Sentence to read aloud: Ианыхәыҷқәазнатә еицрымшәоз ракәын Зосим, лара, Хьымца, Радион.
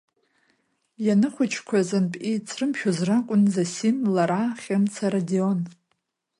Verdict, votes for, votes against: accepted, 2, 1